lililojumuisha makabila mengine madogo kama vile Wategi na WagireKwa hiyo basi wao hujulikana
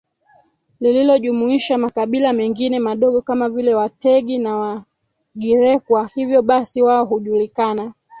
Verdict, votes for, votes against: rejected, 1, 3